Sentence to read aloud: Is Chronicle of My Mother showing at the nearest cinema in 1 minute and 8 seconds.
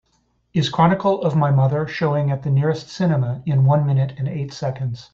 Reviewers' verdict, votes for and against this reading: rejected, 0, 2